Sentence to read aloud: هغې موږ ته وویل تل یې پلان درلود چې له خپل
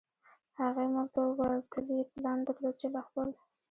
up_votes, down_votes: 1, 2